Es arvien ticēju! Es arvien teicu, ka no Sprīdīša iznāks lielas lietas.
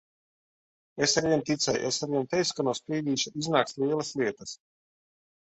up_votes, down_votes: 2, 0